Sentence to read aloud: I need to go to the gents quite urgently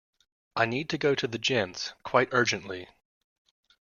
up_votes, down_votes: 2, 0